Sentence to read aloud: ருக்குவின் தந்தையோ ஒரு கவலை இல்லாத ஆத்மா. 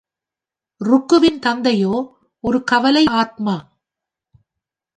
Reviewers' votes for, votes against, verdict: 0, 2, rejected